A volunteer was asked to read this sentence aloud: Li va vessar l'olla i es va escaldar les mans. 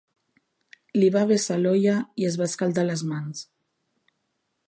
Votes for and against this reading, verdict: 3, 0, accepted